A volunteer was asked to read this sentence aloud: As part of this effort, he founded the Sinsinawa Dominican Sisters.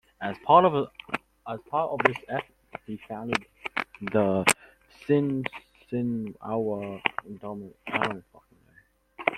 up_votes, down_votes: 0, 2